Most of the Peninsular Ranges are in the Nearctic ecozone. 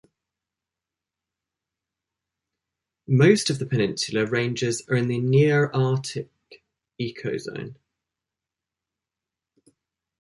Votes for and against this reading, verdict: 1, 2, rejected